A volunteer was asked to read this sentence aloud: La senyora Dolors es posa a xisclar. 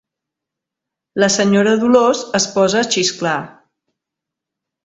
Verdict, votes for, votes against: accepted, 2, 0